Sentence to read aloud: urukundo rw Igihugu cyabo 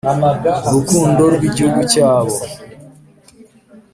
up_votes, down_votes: 2, 0